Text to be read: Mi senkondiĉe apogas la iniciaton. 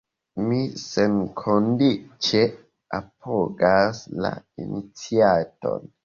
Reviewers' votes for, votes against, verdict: 1, 2, rejected